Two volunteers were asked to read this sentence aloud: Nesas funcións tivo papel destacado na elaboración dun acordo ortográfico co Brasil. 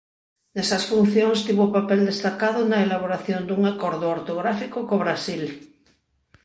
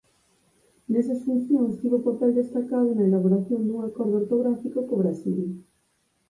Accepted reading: first